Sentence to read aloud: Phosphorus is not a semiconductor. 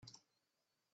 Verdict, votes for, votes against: rejected, 0, 2